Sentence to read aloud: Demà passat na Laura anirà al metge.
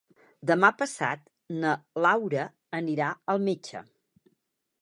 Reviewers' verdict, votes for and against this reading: accepted, 6, 0